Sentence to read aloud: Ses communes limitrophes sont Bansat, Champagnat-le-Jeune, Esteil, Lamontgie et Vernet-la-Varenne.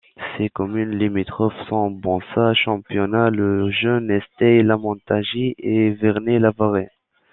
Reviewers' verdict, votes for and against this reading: rejected, 1, 2